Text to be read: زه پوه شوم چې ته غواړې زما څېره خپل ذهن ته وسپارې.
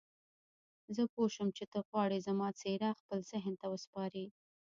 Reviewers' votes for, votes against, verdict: 1, 2, rejected